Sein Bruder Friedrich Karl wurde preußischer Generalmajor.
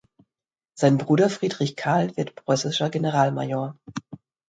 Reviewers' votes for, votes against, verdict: 1, 2, rejected